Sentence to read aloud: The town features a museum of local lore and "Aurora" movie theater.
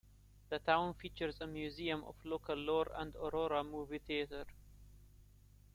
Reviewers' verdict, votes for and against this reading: accepted, 3, 1